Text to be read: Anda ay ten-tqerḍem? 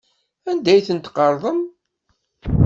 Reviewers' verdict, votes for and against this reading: accepted, 2, 0